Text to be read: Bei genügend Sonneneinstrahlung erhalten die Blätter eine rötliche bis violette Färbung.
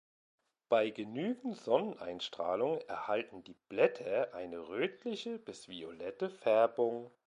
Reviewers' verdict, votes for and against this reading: accepted, 2, 0